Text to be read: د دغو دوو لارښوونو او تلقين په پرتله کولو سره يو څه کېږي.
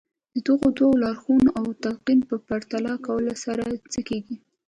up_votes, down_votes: 2, 0